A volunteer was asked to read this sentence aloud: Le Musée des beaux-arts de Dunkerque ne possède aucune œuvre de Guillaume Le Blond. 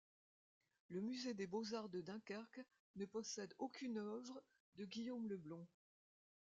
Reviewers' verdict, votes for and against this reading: rejected, 1, 2